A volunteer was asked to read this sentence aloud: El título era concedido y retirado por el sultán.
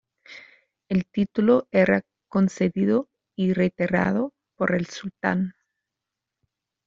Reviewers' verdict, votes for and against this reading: rejected, 0, 2